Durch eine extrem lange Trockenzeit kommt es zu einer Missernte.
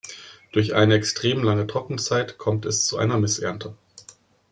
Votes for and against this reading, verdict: 2, 0, accepted